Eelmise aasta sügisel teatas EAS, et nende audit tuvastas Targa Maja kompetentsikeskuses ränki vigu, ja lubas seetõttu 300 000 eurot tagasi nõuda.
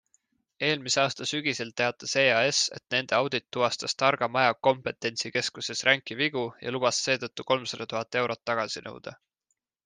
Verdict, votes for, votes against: rejected, 0, 2